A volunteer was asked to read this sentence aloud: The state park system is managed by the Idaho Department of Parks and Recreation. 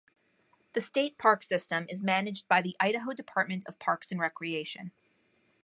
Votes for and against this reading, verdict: 2, 0, accepted